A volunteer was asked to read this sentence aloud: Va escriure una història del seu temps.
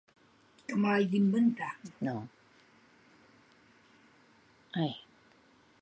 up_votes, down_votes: 1, 2